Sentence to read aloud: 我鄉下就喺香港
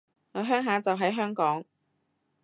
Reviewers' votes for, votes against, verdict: 2, 0, accepted